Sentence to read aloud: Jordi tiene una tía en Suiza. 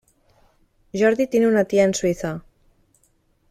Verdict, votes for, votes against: accepted, 2, 0